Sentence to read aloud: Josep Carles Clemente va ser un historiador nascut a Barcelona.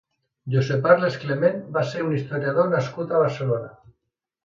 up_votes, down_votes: 1, 2